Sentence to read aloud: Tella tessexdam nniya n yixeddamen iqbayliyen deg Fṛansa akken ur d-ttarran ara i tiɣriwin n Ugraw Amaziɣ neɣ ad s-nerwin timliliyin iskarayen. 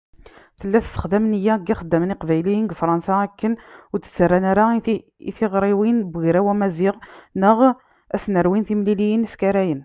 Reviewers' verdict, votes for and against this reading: accepted, 2, 1